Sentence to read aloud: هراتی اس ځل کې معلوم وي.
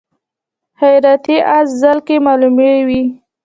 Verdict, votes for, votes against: rejected, 1, 2